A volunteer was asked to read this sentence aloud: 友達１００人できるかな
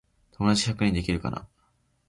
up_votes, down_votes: 0, 2